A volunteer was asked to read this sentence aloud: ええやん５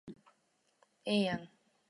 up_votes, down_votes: 0, 2